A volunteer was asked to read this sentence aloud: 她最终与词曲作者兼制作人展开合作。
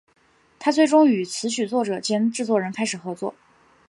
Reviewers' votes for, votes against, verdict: 5, 1, accepted